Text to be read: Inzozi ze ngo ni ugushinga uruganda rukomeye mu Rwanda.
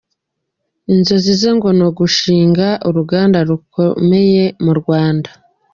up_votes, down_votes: 2, 0